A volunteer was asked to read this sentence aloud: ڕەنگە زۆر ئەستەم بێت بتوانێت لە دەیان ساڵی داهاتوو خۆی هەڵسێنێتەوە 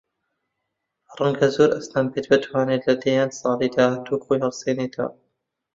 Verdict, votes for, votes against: rejected, 0, 2